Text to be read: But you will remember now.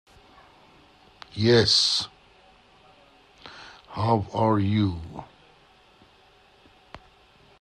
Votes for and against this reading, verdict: 0, 2, rejected